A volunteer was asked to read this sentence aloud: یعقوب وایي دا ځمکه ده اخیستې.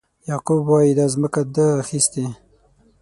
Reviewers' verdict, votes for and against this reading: accepted, 6, 0